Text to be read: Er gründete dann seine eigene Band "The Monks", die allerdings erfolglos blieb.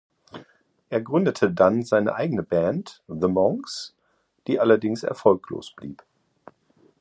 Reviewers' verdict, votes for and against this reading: accepted, 2, 0